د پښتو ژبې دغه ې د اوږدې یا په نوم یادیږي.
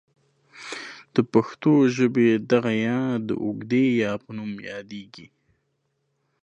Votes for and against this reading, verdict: 2, 1, accepted